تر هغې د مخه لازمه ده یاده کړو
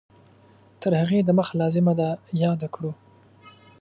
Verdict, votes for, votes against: accepted, 2, 0